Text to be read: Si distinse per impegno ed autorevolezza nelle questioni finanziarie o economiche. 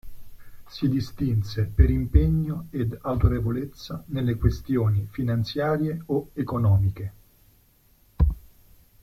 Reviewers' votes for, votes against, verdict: 2, 0, accepted